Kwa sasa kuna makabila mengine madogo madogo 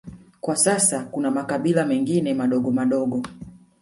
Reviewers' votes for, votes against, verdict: 0, 2, rejected